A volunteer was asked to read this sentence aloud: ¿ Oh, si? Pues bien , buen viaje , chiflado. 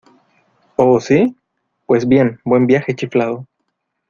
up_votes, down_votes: 2, 0